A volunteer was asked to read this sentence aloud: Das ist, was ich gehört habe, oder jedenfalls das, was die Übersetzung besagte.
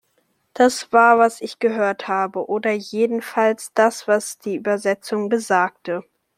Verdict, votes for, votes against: rejected, 0, 2